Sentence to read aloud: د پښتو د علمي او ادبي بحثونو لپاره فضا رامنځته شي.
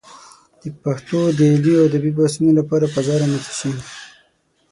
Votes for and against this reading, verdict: 6, 0, accepted